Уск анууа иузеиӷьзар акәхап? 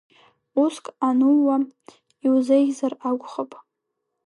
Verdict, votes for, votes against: rejected, 1, 3